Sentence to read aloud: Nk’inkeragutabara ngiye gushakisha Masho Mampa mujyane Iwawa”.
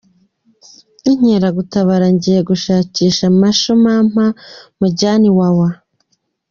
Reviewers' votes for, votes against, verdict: 2, 1, accepted